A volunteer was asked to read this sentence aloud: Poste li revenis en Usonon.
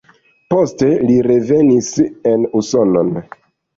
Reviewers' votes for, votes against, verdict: 0, 2, rejected